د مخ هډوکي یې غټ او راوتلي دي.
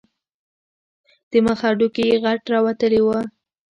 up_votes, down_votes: 2, 1